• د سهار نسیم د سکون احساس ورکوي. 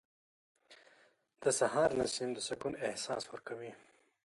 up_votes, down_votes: 1, 2